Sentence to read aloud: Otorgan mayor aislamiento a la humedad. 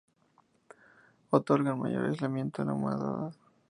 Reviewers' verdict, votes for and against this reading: rejected, 2, 2